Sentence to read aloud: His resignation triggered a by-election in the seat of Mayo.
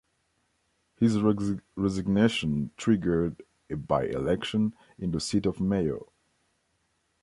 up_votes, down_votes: 1, 2